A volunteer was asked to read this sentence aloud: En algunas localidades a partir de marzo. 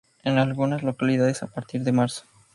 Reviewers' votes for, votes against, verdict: 2, 0, accepted